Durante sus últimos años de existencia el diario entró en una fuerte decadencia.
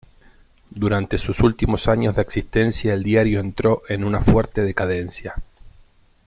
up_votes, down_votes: 2, 0